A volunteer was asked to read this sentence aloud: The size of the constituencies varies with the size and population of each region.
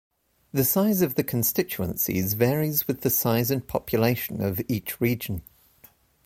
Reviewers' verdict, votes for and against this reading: accepted, 2, 1